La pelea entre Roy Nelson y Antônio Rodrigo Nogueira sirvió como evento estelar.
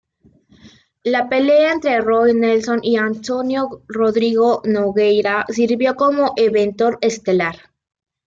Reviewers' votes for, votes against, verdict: 2, 0, accepted